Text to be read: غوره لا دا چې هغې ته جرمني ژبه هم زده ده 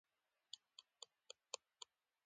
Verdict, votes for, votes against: rejected, 1, 2